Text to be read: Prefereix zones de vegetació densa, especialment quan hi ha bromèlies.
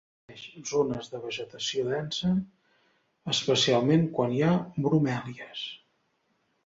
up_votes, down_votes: 0, 3